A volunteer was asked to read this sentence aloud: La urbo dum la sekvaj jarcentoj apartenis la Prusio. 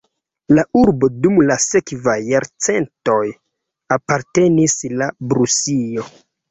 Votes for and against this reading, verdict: 0, 2, rejected